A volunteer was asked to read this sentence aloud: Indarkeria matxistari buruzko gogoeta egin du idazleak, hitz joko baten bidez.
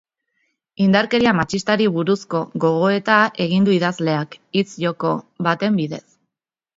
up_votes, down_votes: 3, 0